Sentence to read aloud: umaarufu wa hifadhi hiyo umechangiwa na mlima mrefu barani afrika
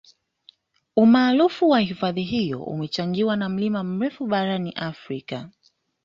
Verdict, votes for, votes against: accepted, 2, 0